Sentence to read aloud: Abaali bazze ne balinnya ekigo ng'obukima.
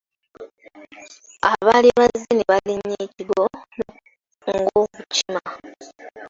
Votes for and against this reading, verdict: 0, 2, rejected